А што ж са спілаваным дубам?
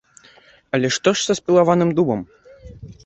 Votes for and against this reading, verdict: 0, 3, rejected